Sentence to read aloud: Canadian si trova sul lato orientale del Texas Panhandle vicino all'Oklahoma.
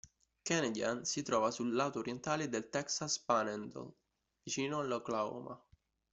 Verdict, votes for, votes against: accepted, 2, 0